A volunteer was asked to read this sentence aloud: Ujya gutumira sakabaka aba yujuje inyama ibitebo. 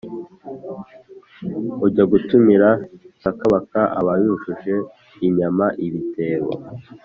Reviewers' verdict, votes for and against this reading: accepted, 2, 0